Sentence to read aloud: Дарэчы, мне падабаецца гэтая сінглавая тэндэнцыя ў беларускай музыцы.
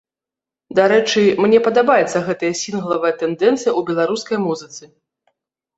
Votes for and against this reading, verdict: 2, 0, accepted